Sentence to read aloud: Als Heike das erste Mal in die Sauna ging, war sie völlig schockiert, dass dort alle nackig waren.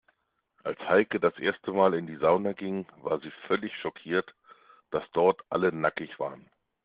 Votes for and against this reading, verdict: 2, 0, accepted